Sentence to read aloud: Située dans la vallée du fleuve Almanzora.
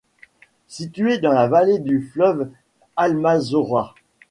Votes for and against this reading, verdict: 0, 2, rejected